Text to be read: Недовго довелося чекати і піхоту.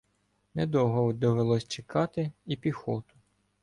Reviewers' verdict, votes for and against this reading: rejected, 1, 2